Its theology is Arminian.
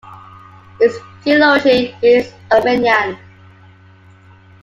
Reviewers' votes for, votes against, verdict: 0, 2, rejected